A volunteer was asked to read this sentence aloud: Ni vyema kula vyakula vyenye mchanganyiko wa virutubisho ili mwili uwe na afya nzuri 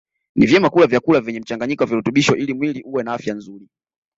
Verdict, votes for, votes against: accepted, 2, 0